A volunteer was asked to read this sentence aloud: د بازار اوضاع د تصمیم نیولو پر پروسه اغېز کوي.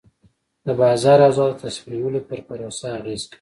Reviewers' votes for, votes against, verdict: 2, 1, accepted